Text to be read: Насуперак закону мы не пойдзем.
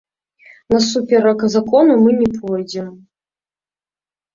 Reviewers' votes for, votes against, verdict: 2, 0, accepted